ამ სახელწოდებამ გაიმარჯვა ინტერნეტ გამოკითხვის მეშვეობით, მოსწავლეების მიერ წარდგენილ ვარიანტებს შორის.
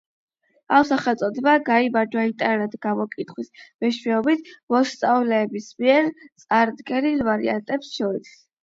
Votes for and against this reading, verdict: 4, 8, rejected